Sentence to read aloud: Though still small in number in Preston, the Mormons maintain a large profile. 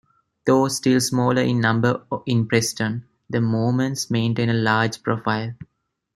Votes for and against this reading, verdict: 2, 1, accepted